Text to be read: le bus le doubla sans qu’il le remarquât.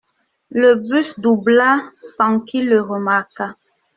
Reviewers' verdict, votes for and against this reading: rejected, 0, 2